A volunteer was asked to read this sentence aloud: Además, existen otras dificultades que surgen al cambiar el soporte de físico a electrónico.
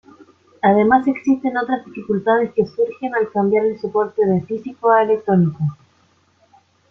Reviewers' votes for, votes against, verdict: 2, 0, accepted